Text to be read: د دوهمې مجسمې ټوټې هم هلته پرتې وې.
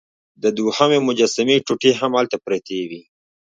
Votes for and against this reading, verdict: 1, 2, rejected